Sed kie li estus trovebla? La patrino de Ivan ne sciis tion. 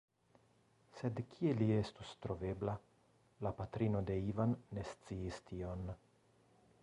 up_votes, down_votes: 1, 2